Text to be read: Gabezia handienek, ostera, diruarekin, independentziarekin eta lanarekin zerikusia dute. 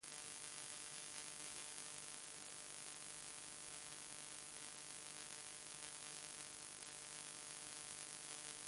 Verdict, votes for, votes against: rejected, 0, 2